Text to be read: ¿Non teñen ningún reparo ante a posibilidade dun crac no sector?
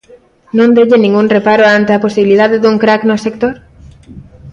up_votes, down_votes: 2, 0